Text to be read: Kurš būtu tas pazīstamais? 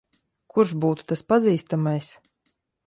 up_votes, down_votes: 2, 0